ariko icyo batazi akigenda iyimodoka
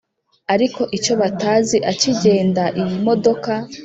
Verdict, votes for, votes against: accepted, 2, 0